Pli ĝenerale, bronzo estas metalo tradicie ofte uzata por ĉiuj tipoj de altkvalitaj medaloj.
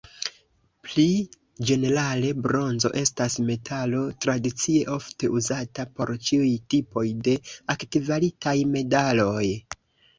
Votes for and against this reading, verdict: 1, 2, rejected